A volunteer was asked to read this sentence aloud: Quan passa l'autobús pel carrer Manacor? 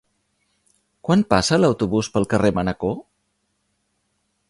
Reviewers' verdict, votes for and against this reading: accepted, 3, 0